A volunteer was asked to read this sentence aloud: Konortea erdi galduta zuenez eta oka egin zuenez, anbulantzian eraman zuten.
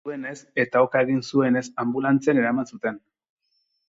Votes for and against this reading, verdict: 0, 6, rejected